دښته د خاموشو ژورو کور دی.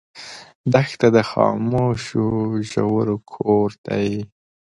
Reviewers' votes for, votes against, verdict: 2, 0, accepted